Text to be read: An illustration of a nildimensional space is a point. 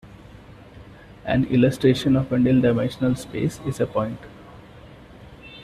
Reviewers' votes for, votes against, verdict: 2, 1, accepted